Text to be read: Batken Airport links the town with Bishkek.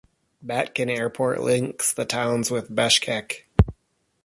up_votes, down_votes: 0, 2